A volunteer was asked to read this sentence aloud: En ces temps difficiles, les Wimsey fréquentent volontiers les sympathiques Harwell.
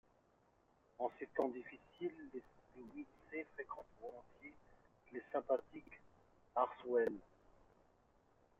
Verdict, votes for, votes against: rejected, 1, 2